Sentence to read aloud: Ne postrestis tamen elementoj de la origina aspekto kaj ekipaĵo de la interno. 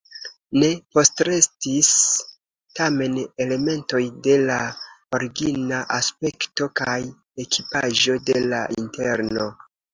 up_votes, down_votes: 2, 0